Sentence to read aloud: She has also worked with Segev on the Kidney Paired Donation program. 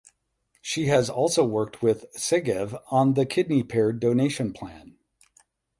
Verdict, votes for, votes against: rejected, 0, 8